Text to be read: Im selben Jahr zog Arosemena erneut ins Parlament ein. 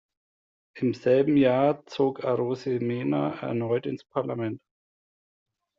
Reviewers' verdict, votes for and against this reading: rejected, 0, 2